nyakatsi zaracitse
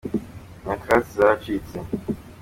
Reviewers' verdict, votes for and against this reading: accepted, 2, 0